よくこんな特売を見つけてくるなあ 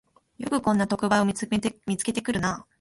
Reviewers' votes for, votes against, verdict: 0, 2, rejected